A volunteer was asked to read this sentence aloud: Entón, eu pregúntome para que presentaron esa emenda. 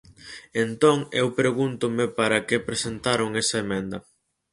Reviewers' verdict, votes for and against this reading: accepted, 4, 0